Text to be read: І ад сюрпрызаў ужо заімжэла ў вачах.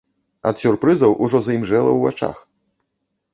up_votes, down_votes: 1, 2